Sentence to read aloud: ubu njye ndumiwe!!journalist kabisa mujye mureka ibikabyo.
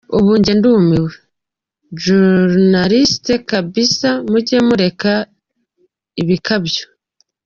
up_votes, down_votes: 2, 1